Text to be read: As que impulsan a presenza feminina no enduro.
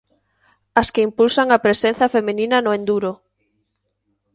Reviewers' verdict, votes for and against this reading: accepted, 2, 1